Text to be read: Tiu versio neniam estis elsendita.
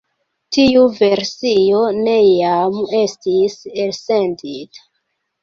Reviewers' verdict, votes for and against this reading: rejected, 1, 2